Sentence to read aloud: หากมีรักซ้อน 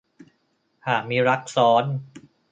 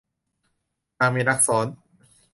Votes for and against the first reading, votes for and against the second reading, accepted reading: 2, 0, 0, 2, first